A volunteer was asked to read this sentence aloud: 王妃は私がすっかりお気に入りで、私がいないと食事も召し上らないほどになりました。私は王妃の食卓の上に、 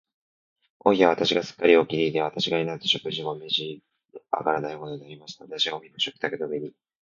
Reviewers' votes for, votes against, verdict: 0, 2, rejected